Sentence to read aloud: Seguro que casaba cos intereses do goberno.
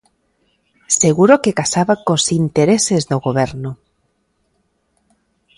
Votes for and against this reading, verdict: 2, 0, accepted